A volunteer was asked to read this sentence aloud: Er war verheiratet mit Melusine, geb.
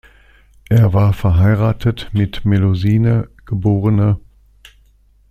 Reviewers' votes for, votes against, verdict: 2, 1, accepted